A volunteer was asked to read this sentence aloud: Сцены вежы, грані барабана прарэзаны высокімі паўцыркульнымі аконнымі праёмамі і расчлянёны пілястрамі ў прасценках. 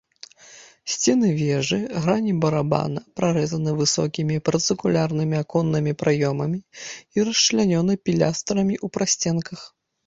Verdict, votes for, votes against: rejected, 0, 2